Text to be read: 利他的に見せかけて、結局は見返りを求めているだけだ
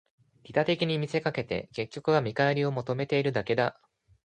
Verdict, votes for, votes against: accepted, 2, 0